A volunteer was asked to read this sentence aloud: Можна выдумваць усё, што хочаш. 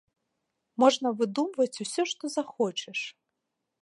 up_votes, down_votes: 0, 2